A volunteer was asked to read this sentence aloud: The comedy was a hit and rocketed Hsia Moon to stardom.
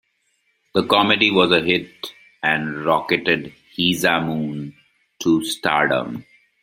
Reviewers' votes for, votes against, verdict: 1, 2, rejected